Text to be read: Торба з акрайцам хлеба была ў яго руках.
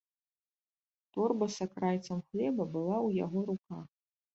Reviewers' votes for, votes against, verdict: 2, 0, accepted